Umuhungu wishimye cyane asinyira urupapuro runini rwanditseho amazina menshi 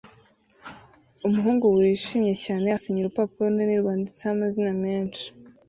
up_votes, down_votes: 2, 0